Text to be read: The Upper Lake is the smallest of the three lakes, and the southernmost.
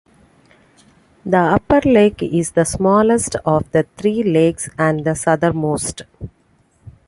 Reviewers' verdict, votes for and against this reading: accepted, 2, 0